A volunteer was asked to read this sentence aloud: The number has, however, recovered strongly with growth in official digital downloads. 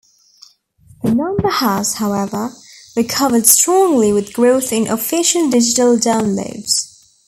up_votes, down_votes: 2, 0